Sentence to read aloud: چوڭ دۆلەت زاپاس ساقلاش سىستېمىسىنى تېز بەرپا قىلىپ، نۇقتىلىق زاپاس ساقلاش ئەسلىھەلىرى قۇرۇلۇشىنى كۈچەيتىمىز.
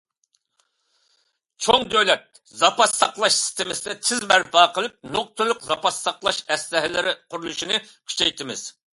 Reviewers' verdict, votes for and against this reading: accepted, 2, 0